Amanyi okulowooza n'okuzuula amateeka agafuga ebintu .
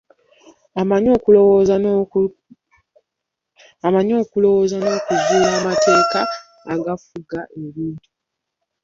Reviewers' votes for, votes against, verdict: 0, 2, rejected